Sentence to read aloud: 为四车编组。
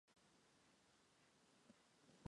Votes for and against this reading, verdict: 5, 6, rejected